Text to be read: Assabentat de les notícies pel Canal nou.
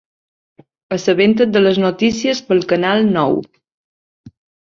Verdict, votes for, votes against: rejected, 1, 2